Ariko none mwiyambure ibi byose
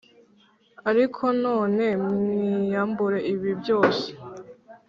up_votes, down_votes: 2, 0